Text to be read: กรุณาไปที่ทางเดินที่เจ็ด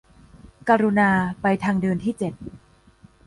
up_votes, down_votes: 2, 0